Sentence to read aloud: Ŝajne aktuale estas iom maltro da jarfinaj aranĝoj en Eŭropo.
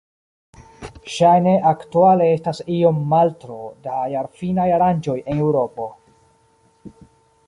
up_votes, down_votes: 2, 1